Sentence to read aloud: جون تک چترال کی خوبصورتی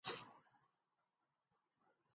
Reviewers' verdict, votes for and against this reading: rejected, 0, 2